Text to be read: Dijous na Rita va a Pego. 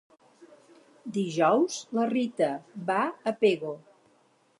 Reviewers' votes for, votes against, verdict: 2, 2, rejected